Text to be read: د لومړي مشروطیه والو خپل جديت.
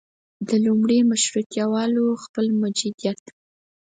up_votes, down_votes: 2, 4